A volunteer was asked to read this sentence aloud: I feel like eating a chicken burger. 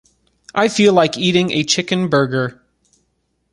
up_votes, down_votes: 2, 0